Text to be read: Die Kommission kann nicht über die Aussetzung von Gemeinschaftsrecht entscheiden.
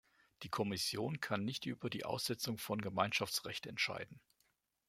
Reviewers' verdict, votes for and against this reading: accepted, 2, 0